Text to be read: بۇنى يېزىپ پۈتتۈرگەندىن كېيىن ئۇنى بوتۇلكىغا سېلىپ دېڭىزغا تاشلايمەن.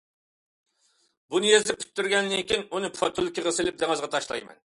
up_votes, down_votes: 0, 2